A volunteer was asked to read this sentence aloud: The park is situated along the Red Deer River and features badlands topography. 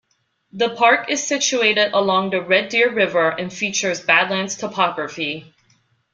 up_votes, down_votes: 2, 1